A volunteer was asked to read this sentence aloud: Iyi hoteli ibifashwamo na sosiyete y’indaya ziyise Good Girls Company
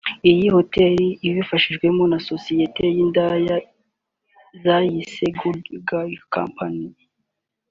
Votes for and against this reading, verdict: 0, 2, rejected